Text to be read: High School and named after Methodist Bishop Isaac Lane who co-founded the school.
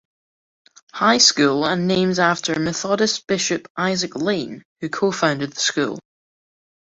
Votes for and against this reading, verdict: 2, 0, accepted